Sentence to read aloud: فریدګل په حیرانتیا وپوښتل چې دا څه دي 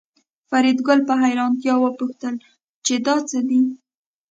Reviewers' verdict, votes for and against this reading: accepted, 2, 0